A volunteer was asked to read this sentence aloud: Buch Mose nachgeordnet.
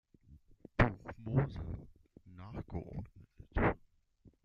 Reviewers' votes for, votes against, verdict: 0, 2, rejected